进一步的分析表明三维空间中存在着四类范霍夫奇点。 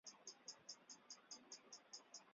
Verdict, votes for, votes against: rejected, 0, 4